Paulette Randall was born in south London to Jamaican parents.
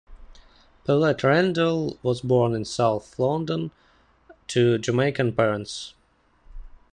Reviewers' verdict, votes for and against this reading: accepted, 2, 0